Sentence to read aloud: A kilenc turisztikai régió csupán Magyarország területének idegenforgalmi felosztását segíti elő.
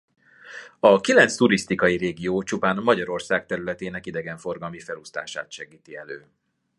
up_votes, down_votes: 2, 0